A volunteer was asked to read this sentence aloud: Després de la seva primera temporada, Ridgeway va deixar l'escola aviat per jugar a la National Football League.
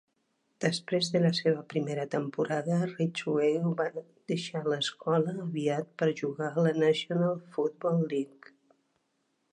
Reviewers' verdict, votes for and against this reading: rejected, 0, 3